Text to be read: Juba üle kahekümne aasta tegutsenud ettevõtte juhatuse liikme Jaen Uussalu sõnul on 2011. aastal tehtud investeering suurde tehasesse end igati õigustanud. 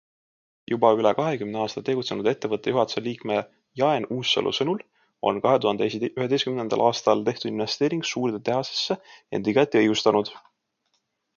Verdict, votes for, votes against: rejected, 0, 2